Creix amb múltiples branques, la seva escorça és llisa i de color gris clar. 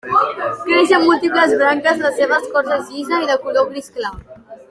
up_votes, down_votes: 2, 1